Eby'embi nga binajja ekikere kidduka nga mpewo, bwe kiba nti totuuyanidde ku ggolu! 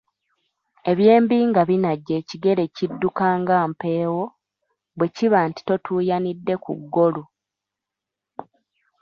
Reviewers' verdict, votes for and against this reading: rejected, 1, 2